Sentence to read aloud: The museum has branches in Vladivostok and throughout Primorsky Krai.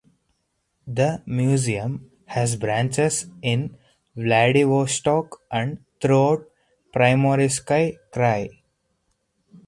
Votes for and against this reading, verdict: 2, 4, rejected